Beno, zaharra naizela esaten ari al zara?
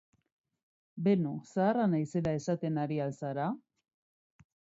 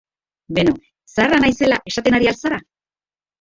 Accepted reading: first